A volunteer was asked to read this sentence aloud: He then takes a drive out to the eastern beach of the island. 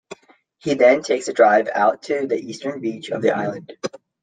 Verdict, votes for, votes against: accepted, 2, 0